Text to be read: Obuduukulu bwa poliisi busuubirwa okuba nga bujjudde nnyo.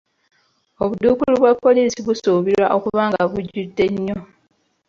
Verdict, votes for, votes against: rejected, 1, 2